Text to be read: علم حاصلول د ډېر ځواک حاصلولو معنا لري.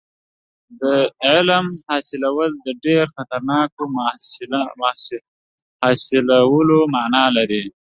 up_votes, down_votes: 0, 2